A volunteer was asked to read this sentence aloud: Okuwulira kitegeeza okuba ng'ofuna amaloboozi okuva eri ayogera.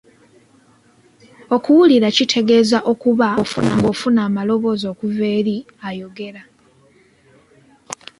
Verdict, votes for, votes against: accepted, 2, 0